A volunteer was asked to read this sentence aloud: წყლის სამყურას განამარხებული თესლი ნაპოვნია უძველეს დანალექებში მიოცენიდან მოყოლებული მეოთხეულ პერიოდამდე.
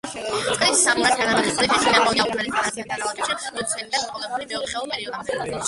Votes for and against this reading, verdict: 0, 2, rejected